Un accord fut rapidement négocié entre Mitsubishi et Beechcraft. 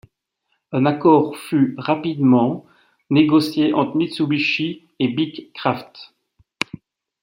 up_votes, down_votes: 2, 0